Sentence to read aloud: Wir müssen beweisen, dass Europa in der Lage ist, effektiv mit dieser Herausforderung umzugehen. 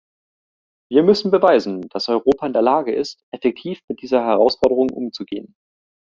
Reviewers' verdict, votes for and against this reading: accepted, 2, 1